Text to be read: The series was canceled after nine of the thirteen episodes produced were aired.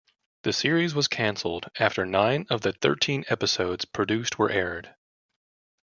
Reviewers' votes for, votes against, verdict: 2, 0, accepted